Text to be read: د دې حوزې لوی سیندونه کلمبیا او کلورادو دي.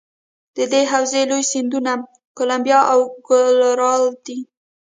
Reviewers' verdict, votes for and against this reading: rejected, 1, 2